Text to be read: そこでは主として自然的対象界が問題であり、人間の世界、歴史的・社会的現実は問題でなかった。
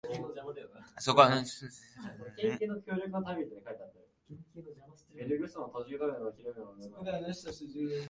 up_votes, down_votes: 0, 2